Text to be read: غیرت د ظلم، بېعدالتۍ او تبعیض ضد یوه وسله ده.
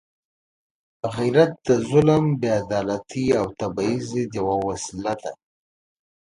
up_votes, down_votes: 2, 0